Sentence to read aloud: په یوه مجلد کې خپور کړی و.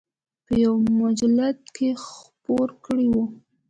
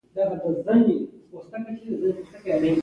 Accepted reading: first